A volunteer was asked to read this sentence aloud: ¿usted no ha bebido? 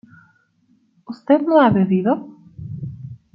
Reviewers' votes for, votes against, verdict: 2, 0, accepted